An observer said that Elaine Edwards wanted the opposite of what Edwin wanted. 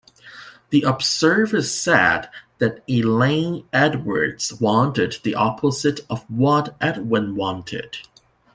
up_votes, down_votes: 0, 2